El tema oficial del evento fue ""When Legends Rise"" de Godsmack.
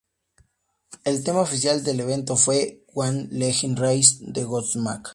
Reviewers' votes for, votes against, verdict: 2, 0, accepted